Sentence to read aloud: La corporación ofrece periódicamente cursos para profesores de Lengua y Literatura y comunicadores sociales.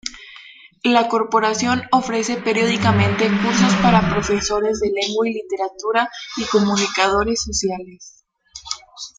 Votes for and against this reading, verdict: 2, 1, accepted